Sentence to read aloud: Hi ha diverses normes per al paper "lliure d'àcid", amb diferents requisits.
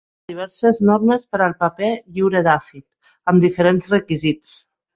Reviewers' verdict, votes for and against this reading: rejected, 0, 2